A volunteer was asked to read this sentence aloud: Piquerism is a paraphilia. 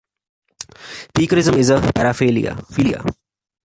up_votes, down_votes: 1, 3